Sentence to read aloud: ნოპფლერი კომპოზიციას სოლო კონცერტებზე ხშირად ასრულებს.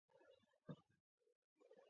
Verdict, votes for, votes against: accepted, 2, 1